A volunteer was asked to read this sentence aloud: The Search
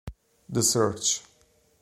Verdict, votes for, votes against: accepted, 2, 0